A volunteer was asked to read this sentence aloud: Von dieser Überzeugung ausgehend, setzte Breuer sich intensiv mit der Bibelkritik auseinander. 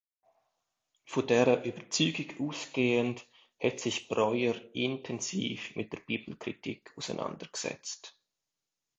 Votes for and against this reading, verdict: 0, 2, rejected